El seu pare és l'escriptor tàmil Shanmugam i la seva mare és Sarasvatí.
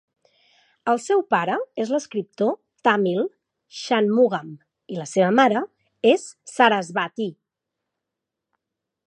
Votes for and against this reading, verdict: 6, 0, accepted